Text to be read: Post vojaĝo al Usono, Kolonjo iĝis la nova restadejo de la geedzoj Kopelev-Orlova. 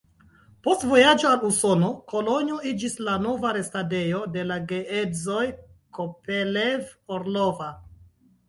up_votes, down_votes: 2, 1